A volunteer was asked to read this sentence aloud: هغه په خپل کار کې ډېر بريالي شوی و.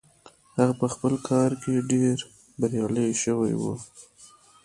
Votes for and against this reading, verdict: 1, 2, rejected